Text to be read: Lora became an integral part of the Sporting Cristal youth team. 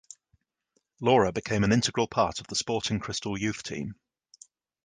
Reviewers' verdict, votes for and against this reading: accepted, 2, 0